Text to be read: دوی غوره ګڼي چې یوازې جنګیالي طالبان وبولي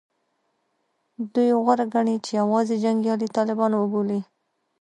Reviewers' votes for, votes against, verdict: 2, 0, accepted